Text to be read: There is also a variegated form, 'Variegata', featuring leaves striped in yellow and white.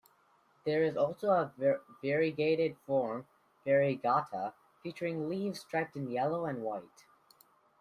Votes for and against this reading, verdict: 1, 2, rejected